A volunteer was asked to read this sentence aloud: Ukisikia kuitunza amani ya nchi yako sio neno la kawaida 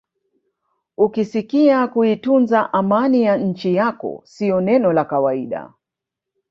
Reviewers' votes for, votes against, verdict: 1, 2, rejected